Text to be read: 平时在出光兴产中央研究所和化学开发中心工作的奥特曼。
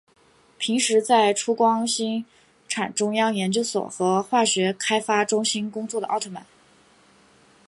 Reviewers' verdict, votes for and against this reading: accepted, 3, 0